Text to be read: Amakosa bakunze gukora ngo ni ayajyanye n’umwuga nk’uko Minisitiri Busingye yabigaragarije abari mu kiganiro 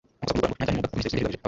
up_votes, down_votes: 1, 2